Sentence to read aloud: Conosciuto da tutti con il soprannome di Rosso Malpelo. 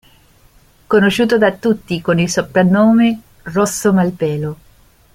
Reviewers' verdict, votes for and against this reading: rejected, 0, 2